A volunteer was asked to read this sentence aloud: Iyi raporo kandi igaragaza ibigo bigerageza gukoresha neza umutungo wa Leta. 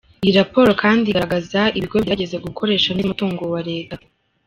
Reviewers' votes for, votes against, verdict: 1, 2, rejected